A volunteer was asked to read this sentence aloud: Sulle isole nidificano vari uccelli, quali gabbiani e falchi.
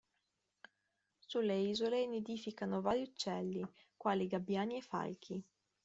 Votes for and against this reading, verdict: 2, 0, accepted